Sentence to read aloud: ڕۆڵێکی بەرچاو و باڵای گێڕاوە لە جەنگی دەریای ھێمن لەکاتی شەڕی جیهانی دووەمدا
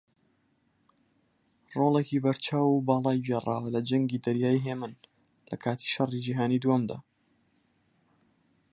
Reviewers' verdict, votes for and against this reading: accepted, 4, 2